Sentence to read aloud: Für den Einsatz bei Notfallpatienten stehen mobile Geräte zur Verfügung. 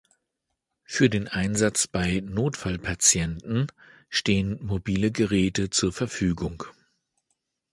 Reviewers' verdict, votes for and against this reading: accepted, 2, 0